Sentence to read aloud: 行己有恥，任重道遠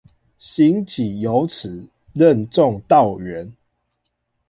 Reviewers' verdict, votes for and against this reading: accepted, 2, 0